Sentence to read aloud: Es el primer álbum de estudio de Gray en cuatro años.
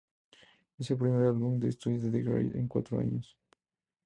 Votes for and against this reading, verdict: 0, 2, rejected